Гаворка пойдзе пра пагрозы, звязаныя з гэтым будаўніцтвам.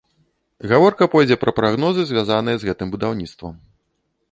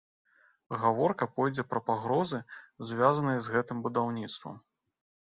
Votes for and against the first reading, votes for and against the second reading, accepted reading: 1, 2, 2, 0, second